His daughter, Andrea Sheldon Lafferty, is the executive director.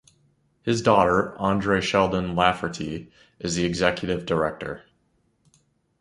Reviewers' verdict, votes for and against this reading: accepted, 2, 0